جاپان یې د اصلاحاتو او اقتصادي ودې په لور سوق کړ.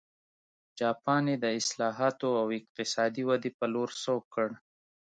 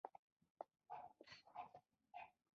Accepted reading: first